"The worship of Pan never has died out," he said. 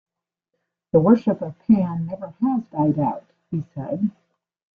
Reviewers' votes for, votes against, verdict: 1, 2, rejected